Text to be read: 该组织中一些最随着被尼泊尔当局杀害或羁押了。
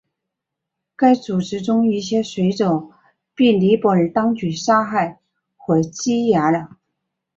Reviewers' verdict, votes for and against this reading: rejected, 0, 3